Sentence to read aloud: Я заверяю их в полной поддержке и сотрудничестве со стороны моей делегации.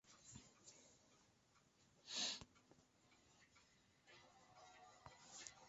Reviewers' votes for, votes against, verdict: 0, 2, rejected